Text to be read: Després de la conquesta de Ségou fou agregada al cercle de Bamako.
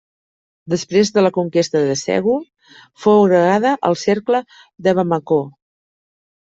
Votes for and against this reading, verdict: 1, 2, rejected